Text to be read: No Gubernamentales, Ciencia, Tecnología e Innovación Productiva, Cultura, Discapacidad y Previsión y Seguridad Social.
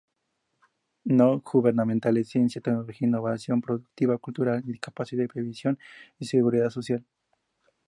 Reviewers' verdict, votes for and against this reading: accepted, 2, 0